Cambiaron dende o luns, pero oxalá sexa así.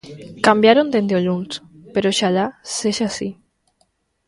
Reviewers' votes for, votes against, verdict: 2, 0, accepted